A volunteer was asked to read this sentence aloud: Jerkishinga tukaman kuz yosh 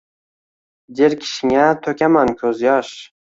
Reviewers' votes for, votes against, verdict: 1, 2, rejected